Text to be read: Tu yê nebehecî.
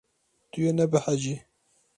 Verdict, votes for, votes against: accepted, 2, 0